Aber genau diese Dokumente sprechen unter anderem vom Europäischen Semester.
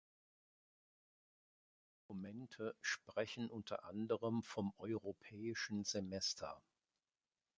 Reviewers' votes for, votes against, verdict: 1, 2, rejected